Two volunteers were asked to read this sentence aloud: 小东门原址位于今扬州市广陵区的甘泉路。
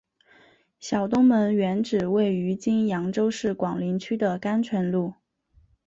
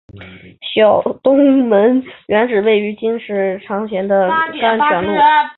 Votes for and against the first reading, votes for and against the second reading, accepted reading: 3, 1, 1, 2, first